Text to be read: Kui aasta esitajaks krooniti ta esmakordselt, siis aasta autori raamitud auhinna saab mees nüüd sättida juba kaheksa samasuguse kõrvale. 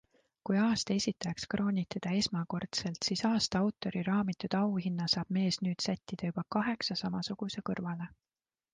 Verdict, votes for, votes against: accepted, 2, 0